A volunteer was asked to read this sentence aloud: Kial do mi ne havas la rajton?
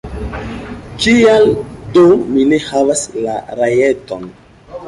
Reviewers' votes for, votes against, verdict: 0, 3, rejected